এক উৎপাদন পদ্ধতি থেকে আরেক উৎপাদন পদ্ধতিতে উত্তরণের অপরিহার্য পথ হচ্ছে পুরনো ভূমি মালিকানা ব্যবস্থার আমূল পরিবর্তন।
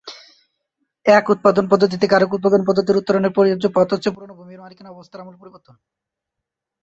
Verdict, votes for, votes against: rejected, 0, 2